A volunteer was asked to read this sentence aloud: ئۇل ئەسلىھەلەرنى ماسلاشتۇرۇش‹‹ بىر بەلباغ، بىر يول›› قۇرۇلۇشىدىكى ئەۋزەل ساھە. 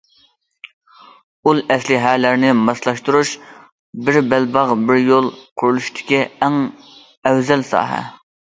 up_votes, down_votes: 0, 2